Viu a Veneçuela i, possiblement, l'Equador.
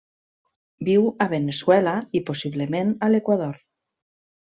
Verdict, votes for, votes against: rejected, 1, 2